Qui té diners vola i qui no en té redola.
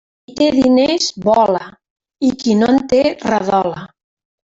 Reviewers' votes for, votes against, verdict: 0, 2, rejected